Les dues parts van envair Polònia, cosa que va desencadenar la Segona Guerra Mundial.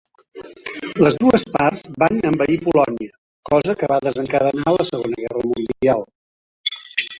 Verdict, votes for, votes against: rejected, 1, 2